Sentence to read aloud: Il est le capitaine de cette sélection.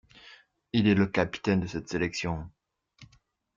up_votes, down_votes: 2, 0